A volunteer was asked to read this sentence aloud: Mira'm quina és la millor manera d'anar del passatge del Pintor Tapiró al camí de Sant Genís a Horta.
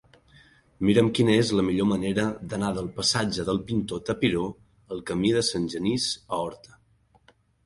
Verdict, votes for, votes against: accepted, 2, 0